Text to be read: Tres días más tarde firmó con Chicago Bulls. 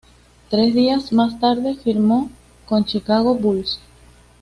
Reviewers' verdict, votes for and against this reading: accepted, 2, 0